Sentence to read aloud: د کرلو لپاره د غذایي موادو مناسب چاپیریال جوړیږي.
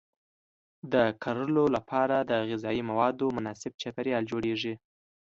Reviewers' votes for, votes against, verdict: 2, 0, accepted